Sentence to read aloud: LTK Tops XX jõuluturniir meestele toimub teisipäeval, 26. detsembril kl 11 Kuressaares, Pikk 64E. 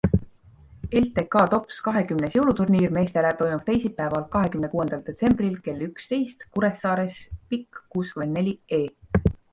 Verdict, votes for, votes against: rejected, 0, 2